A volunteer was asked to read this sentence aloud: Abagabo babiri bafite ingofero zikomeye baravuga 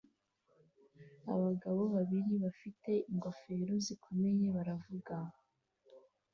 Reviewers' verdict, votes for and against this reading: accepted, 2, 0